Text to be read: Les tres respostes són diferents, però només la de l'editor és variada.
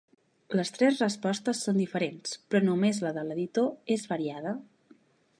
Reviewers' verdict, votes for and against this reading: accepted, 2, 0